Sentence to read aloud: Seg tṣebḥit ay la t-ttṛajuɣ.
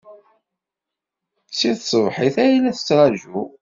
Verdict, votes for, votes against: accepted, 2, 0